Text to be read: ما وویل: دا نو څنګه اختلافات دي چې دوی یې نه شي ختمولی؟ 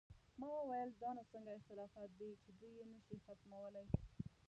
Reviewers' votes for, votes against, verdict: 0, 2, rejected